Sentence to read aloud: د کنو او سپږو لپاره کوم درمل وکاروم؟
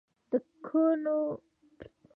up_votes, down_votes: 1, 2